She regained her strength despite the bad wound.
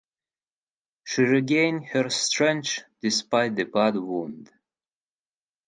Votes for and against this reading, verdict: 4, 0, accepted